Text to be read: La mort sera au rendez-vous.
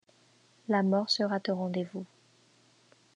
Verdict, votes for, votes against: rejected, 0, 2